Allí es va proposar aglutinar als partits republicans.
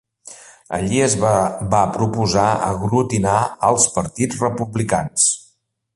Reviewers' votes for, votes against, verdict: 0, 2, rejected